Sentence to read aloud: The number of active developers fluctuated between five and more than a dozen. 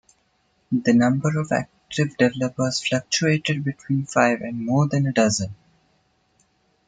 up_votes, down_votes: 1, 2